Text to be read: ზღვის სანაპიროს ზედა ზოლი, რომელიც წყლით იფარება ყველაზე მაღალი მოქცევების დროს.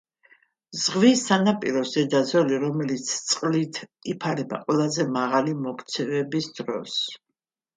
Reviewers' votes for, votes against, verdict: 2, 0, accepted